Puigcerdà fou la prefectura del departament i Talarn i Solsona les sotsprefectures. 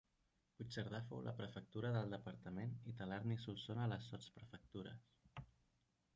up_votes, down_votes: 3, 1